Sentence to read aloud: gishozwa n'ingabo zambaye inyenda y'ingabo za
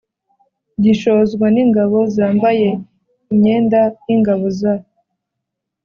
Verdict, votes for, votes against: accepted, 2, 0